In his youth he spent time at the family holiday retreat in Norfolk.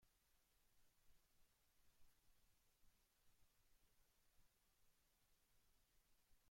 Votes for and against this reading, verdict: 0, 2, rejected